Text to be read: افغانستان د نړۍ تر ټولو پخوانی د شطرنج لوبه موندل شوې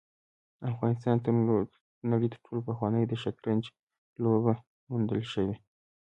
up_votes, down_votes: 3, 1